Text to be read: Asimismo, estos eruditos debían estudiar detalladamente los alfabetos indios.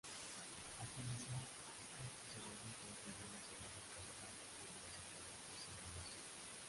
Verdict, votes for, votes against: rejected, 0, 2